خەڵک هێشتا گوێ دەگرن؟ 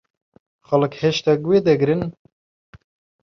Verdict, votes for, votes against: accepted, 2, 0